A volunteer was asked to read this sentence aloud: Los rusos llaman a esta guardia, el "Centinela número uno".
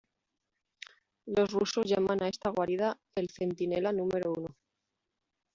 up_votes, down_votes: 0, 2